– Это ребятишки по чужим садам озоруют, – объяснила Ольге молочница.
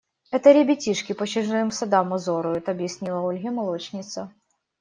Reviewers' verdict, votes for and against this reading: rejected, 1, 2